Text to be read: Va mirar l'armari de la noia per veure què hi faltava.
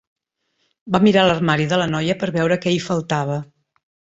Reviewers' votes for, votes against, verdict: 3, 0, accepted